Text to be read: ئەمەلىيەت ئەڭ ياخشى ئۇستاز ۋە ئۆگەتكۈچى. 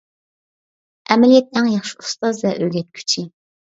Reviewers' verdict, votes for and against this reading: accepted, 2, 0